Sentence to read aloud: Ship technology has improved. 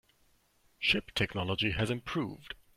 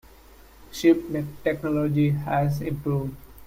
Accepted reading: first